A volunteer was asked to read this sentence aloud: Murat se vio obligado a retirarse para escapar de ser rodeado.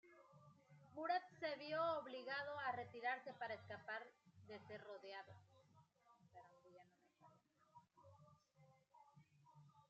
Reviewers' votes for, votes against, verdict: 2, 0, accepted